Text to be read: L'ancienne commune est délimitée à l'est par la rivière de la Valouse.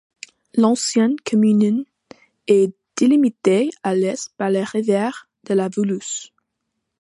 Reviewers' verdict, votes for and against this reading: accepted, 2, 0